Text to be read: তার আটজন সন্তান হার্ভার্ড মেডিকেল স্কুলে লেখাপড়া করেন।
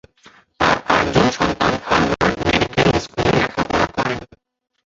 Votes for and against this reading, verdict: 0, 2, rejected